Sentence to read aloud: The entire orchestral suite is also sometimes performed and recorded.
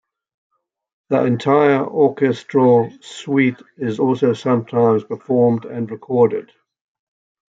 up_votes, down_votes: 2, 0